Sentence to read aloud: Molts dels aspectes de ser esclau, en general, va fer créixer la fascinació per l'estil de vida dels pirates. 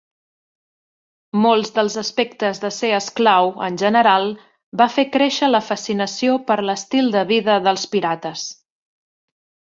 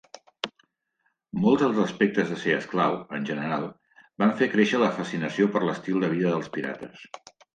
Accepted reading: first